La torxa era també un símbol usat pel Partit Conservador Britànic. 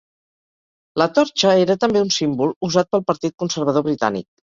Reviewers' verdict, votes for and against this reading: accepted, 4, 2